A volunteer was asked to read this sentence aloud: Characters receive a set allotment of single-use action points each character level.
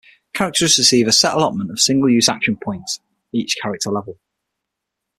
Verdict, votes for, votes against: accepted, 6, 3